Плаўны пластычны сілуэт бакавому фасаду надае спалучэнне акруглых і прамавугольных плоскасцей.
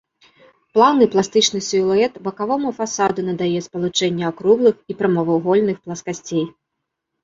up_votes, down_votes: 1, 2